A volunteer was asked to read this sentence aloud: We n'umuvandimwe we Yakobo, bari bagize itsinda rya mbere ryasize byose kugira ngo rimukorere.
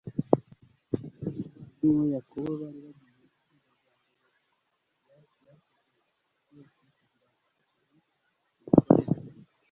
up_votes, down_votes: 1, 2